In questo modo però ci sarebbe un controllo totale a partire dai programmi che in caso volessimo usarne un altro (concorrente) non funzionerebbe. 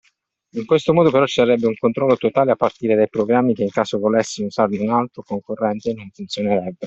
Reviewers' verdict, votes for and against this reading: accepted, 2, 1